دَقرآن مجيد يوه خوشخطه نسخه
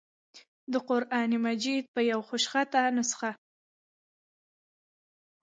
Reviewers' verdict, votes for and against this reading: accepted, 2, 1